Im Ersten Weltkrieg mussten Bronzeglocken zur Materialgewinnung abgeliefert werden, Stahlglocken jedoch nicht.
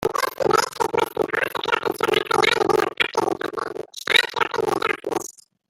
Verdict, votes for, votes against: rejected, 1, 2